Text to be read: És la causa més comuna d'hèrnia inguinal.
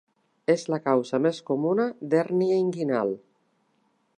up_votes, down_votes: 2, 0